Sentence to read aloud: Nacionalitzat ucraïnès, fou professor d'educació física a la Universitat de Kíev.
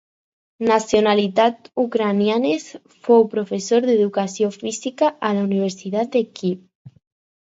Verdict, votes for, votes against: rejected, 2, 4